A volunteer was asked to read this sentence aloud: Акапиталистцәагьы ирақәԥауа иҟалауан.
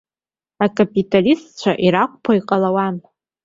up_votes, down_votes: 1, 2